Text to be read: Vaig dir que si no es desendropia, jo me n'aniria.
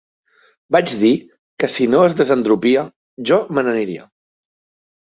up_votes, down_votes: 2, 0